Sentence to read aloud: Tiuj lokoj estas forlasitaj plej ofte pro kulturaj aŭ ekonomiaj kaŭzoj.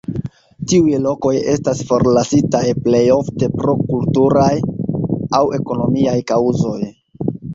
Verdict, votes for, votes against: rejected, 1, 2